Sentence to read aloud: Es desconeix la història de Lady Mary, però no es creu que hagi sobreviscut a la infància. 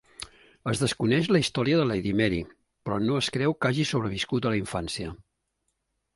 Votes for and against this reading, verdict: 3, 0, accepted